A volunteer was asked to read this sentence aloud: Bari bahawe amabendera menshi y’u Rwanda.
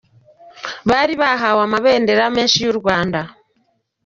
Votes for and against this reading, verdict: 2, 0, accepted